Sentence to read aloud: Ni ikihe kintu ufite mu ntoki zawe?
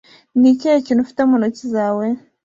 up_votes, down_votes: 2, 0